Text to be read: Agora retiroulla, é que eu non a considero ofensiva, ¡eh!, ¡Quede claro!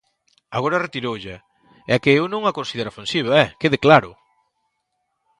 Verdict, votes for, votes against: accepted, 2, 0